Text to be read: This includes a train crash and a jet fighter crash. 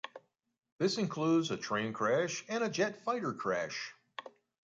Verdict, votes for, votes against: accepted, 2, 0